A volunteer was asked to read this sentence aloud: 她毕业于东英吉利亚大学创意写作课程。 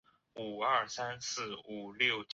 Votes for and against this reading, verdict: 0, 2, rejected